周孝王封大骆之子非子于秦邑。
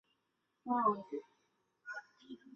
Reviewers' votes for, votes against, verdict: 0, 4, rejected